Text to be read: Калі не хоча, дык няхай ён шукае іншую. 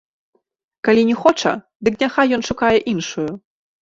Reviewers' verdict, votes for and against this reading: accepted, 2, 1